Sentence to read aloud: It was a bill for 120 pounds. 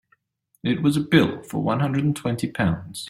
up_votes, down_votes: 0, 2